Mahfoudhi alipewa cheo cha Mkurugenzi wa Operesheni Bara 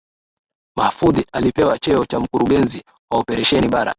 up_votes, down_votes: 1, 2